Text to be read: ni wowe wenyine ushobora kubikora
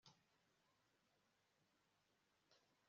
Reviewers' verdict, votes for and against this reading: rejected, 0, 2